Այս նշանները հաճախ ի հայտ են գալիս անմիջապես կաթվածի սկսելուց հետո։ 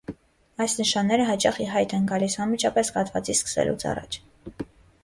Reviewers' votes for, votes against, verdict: 1, 2, rejected